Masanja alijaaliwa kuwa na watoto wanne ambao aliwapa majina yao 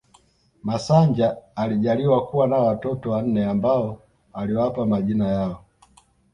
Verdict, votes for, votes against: accepted, 2, 0